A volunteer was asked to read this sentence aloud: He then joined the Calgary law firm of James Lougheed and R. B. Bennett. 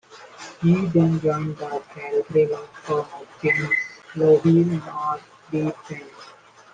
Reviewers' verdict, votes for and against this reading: rejected, 0, 2